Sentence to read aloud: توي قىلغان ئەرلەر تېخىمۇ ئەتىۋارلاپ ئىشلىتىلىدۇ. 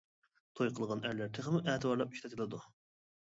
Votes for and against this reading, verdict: 2, 1, accepted